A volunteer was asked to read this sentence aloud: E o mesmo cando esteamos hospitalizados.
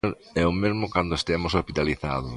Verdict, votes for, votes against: rejected, 1, 2